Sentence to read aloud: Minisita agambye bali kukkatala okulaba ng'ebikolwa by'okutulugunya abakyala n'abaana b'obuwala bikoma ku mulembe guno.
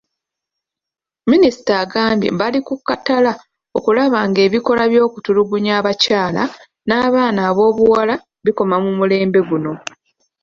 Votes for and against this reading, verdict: 2, 0, accepted